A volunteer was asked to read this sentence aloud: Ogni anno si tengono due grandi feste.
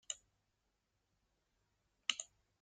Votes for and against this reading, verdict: 0, 2, rejected